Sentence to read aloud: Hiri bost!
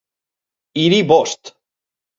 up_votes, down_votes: 4, 0